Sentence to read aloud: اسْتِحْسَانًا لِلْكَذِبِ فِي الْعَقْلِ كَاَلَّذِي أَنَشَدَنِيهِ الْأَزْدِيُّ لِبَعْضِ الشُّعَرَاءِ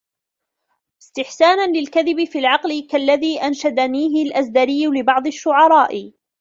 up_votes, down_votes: 0, 2